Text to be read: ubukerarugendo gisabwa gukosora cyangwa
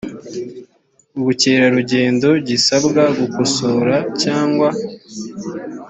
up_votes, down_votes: 2, 0